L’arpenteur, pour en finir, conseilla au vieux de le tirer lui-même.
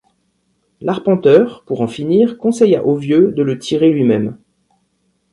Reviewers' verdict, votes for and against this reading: accepted, 2, 0